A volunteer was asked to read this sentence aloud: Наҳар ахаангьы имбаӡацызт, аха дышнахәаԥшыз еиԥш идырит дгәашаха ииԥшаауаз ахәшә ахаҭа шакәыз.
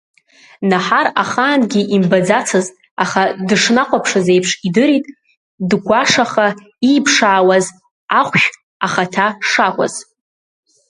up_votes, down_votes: 2, 0